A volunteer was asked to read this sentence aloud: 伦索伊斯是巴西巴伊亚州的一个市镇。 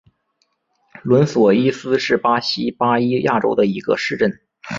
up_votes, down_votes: 2, 0